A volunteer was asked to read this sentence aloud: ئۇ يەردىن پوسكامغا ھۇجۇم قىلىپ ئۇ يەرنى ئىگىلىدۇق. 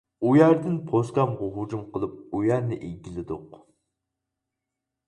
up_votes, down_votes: 4, 0